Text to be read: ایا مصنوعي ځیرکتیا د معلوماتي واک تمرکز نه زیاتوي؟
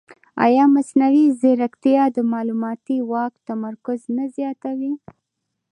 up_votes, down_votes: 2, 0